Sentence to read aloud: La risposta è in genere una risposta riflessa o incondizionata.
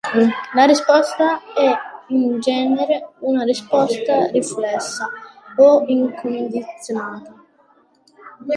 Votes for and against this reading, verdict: 2, 1, accepted